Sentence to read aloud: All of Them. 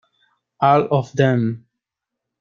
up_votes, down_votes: 1, 2